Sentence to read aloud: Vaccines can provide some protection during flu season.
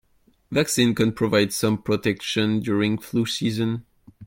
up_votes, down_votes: 2, 0